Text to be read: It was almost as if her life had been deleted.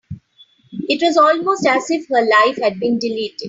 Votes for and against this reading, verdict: 3, 0, accepted